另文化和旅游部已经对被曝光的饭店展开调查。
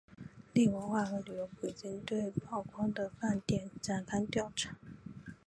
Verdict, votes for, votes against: accepted, 2, 1